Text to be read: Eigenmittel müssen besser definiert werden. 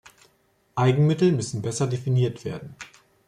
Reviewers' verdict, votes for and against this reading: accepted, 2, 0